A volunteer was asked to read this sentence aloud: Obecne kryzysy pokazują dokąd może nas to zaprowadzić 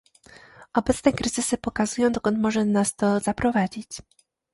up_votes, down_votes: 2, 0